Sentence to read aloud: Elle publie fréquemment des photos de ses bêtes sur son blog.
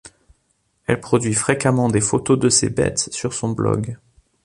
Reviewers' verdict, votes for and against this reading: rejected, 1, 2